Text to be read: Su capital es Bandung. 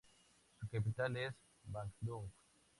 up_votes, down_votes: 2, 0